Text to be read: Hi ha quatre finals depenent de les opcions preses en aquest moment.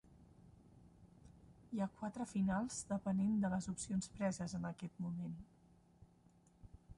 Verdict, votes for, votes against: rejected, 1, 2